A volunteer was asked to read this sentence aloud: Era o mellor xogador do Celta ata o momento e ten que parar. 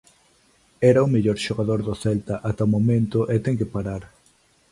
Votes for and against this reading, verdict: 2, 0, accepted